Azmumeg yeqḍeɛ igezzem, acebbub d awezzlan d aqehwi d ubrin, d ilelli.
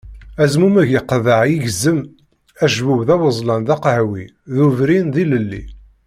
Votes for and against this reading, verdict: 2, 0, accepted